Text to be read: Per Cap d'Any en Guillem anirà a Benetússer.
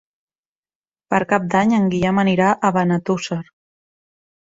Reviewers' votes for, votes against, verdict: 3, 0, accepted